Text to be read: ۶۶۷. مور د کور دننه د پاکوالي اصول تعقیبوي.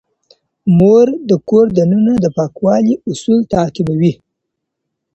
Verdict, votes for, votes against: rejected, 0, 2